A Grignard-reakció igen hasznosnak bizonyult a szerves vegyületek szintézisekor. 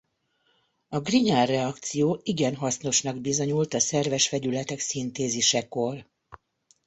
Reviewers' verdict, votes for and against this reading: accepted, 2, 0